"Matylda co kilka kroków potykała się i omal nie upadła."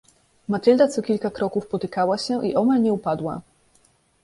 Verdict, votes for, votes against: accepted, 2, 0